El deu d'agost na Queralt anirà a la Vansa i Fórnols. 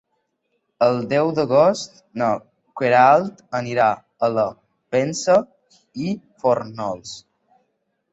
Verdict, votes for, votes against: rejected, 2, 3